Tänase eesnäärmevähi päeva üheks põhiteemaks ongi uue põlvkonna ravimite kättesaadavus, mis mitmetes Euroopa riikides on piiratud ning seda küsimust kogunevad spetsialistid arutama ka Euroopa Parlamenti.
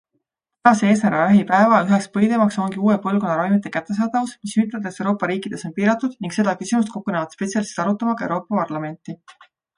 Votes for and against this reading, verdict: 0, 2, rejected